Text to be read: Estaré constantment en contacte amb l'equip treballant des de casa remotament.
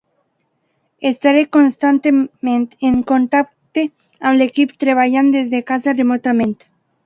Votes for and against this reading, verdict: 0, 2, rejected